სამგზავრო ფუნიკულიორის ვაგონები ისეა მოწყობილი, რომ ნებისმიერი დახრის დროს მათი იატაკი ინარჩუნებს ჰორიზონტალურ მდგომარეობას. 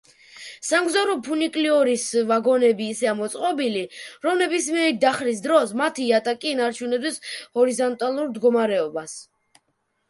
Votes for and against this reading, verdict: 0, 2, rejected